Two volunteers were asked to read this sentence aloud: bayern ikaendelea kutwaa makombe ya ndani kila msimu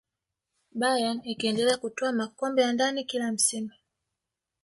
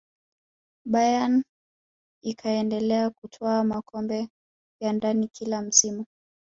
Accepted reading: second